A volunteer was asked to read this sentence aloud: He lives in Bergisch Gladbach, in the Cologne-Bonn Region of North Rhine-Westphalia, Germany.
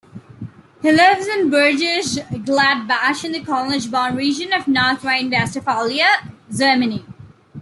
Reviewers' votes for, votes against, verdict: 0, 2, rejected